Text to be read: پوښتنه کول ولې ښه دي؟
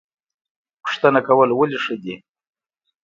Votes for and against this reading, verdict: 2, 0, accepted